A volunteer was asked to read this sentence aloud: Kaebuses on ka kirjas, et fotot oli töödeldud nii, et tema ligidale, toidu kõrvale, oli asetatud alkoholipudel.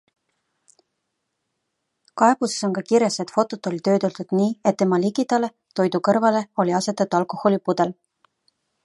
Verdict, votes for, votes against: accepted, 2, 0